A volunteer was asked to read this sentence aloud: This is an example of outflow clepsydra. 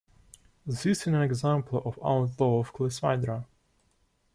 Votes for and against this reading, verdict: 1, 2, rejected